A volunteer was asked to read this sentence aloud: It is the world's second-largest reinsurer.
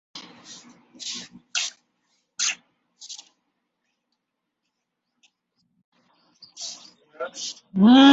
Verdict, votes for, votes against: rejected, 0, 2